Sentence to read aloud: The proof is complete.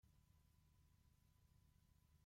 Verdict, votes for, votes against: rejected, 0, 2